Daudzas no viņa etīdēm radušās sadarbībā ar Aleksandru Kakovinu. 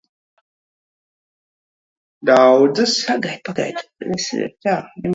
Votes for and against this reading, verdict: 0, 2, rejected